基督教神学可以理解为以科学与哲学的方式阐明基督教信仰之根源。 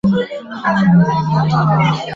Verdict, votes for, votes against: rejected, 0, 2